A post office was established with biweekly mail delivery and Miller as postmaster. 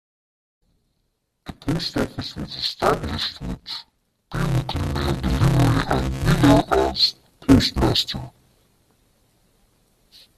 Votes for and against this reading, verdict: 0, 2, rejected